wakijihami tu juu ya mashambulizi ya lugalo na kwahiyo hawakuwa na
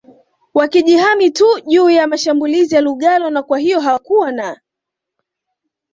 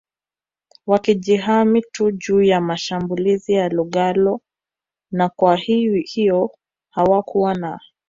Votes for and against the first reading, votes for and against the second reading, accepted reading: 2, 0, 0, 2, first